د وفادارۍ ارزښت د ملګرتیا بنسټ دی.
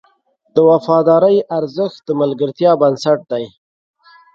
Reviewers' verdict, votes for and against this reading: accepted, 2, 0